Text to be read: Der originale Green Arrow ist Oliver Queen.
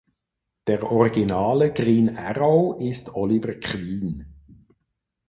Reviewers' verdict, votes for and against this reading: rejected, 2, 4